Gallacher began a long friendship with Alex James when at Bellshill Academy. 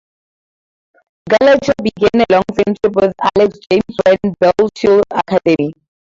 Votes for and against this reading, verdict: 2, 2, rejected